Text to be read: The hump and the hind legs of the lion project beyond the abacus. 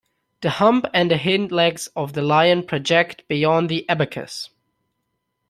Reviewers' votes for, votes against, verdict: 0, 2, rejected